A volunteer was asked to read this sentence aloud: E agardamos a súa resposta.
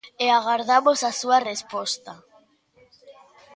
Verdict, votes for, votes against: rejected, 0, 2